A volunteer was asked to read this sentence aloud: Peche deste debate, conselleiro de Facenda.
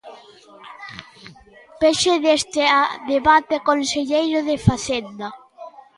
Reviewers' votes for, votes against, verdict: 1, 2, rejected